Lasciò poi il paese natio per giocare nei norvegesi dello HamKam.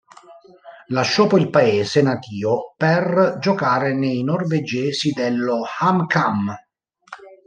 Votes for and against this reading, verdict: 2, 0, accepted